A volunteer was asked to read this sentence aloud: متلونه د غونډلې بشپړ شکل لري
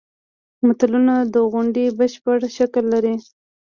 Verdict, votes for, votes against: rejected, 0, 2